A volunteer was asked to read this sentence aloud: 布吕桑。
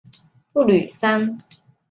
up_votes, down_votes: 2, 0